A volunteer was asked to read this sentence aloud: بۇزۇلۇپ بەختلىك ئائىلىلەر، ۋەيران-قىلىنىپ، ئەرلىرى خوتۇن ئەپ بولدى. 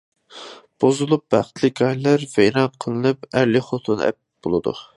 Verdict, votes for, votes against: rejected, 0, 2